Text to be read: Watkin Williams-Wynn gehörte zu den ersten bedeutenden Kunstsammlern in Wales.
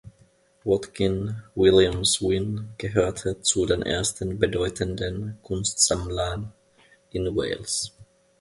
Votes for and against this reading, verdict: 2, 0, accepted